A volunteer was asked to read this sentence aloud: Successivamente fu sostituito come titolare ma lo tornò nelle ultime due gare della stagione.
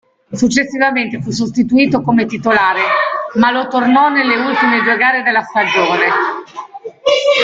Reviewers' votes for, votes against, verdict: 0, 2, rejected